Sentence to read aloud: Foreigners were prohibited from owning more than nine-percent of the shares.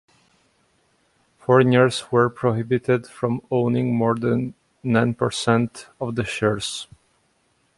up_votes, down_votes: 2, 0